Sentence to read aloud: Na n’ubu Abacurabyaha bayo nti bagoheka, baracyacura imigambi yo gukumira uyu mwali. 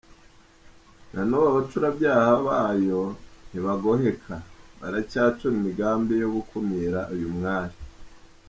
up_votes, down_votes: 2, 0